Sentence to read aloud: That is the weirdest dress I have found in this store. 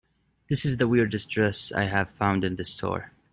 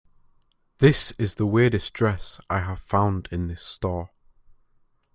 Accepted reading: first